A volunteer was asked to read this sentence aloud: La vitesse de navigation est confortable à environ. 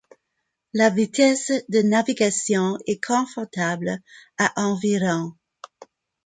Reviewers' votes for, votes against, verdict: 2, 0, accepted